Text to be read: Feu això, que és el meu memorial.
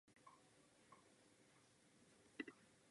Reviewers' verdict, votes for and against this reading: rejected, 1, 2